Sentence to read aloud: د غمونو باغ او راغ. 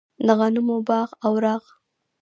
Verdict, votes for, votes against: accepted, 2, 0